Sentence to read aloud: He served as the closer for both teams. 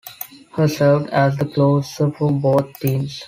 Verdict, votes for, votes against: rejected, 1, 2